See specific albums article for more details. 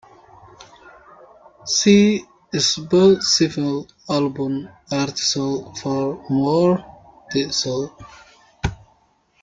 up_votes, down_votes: 0, 2